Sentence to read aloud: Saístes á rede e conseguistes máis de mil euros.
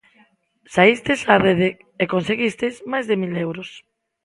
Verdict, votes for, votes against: accepted, 2, 0